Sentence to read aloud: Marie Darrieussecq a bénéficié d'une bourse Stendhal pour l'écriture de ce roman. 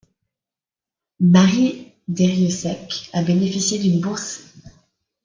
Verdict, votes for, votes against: rejected, 1, 2